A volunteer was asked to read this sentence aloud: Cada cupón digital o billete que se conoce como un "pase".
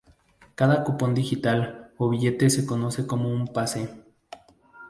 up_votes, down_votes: 0, 2